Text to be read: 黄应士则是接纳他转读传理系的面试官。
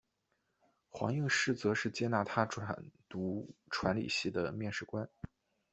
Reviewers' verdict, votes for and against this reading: rejected, 0, 2